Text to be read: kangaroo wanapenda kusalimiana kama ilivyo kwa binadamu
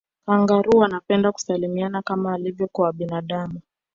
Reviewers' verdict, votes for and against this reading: accepted, 2, 0